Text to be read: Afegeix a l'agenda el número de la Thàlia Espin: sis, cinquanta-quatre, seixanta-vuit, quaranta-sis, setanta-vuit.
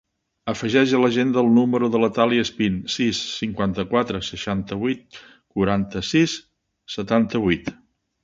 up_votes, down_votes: 2, 0